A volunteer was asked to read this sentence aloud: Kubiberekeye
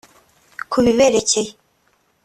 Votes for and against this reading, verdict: 2, 0, accepted